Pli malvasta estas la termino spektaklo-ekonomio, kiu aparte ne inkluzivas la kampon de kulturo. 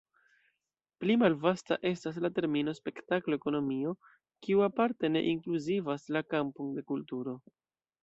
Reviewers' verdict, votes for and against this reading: accepted, 2, 0